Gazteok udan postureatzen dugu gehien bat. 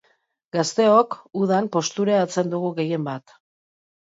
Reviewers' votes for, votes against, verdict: 2, 0, accepted